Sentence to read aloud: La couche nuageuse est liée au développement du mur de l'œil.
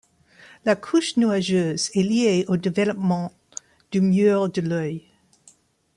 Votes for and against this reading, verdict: 2, 0, accepted